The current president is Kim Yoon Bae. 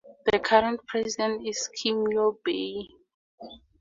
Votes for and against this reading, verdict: 0, 2, rejected